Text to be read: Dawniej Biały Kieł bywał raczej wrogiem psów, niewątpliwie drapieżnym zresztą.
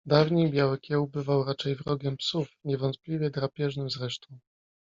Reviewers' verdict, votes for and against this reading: rejected, 1, 2